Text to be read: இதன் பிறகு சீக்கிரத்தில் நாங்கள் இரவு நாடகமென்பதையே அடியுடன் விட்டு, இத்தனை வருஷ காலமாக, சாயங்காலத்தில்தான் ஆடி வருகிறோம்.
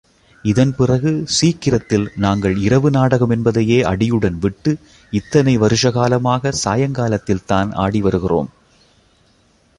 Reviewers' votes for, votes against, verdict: 2, 0, accepted